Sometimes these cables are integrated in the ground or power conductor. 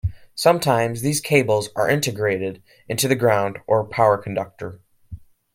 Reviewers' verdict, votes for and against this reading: rejected, 1, 2